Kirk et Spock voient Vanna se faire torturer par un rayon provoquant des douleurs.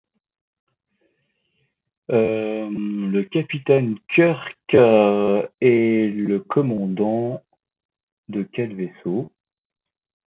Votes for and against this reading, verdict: 0, 2, rejected